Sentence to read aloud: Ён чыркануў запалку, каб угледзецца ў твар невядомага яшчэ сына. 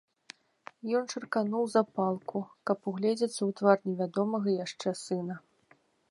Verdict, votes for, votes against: accepted, 2, 0